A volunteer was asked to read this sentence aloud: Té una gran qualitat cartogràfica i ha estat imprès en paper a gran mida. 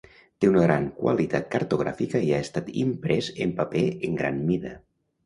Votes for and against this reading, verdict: 0, 2, rejected